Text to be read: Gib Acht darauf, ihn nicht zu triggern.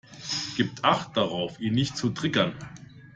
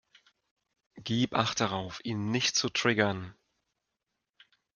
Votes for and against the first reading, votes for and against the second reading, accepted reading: 0, 2, 2, 0, second